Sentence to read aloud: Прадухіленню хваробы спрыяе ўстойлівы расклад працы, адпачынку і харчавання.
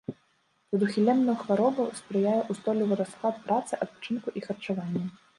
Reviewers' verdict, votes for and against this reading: rejected, 1, 2